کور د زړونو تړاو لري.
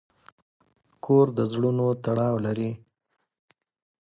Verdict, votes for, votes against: accepted, 2, 0